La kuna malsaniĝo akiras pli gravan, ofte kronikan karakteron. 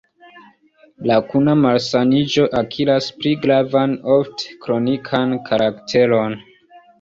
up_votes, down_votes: 2, 0